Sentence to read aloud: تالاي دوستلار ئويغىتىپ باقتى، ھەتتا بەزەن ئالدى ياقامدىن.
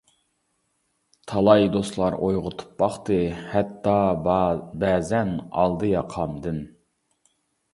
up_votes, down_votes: 1, 2